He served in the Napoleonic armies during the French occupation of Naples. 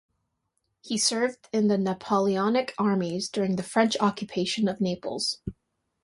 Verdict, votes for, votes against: accepted, 2, 0